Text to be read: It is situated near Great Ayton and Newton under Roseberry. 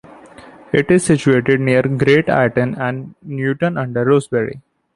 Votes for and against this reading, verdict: 2, 0, accepted